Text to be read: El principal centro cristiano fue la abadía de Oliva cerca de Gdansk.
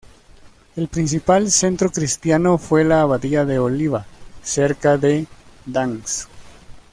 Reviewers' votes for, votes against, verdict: 2, 1, accepted